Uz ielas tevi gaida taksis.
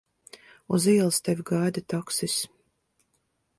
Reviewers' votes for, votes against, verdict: 2, 0, accepted